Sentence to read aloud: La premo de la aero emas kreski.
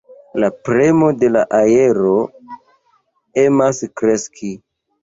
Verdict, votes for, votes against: accepted, 2, 0